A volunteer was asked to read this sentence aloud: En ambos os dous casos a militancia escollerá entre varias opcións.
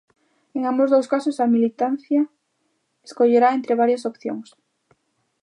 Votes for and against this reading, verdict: 2, 0, accepted